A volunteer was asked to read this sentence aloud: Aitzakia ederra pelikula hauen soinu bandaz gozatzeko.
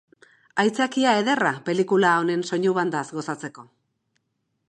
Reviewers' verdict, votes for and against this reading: accepted, 2, 0